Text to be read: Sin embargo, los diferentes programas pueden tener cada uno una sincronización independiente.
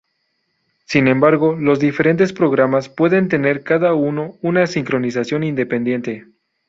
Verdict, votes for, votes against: accepted, 2, 0